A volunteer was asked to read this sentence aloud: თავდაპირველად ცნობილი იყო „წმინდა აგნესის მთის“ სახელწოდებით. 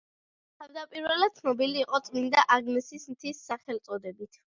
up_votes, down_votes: 2, 0